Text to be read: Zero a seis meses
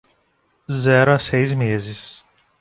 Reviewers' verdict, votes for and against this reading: accepted, 2, 0